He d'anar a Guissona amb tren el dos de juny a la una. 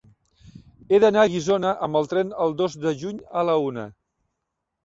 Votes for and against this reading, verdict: 0, 2, rejected